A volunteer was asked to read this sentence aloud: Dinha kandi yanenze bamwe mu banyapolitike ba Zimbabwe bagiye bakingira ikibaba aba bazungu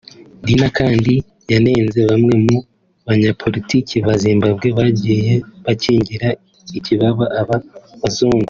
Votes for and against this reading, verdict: 2, 0, accepted